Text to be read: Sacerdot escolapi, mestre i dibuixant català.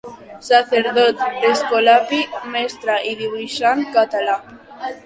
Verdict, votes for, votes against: rejected, 1, 3